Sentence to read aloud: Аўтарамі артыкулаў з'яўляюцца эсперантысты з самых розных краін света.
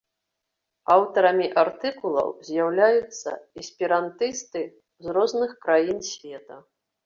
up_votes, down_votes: 0, 2